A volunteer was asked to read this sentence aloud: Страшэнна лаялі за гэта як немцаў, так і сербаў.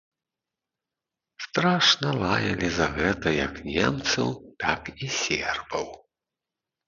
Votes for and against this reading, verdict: 0, 2, rejected